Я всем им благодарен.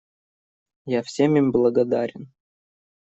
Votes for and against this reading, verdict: 2, 0, accepted